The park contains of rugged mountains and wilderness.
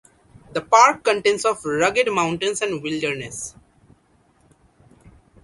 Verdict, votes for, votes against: accepted, 4, 0